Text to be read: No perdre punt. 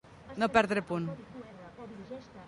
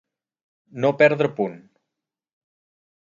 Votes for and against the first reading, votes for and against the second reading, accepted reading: 1, 2, 4, 0, second